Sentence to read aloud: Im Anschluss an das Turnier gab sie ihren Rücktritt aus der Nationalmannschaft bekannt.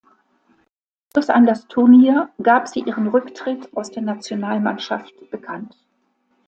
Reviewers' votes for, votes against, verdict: 0, 2, rejected